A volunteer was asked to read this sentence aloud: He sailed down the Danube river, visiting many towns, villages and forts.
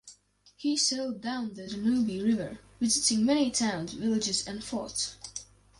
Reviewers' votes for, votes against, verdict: 4, 0, accepted